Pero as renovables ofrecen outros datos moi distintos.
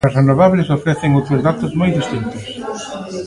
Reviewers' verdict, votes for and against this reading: rejected, 0, 2